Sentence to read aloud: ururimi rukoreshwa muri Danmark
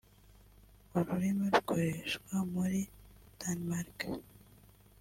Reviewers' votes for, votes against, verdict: 1, 2, rejected